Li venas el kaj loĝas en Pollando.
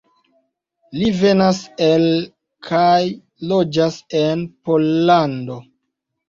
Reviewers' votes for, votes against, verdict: 2, 0, accepted